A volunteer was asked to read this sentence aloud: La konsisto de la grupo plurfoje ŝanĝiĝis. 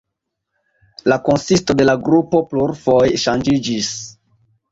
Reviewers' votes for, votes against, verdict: 1, 2, rejected